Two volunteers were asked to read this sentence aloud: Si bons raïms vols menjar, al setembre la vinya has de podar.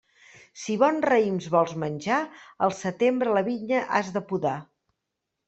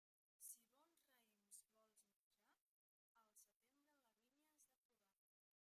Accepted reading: first